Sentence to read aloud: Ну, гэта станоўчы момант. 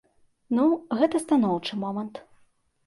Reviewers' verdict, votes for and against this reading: accepted, 2, 0